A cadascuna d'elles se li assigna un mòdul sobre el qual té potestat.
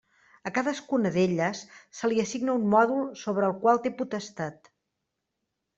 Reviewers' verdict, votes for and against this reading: accepted, 3, 0